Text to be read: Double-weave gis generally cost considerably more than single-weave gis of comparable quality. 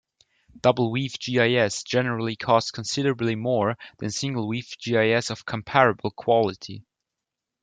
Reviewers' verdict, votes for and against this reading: accepted, 2, 1